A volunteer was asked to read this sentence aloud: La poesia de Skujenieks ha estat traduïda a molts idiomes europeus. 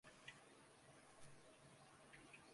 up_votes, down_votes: 0, 2